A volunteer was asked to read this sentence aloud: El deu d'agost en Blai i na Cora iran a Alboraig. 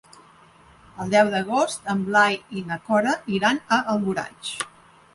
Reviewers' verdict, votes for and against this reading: accepted, 2, 0